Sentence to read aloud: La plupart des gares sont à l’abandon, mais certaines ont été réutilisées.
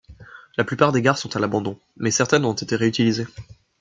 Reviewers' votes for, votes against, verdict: 2, 0, accepted